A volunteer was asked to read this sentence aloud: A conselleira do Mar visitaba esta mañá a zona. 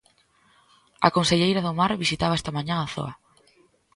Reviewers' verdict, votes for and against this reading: rejected, 0, 2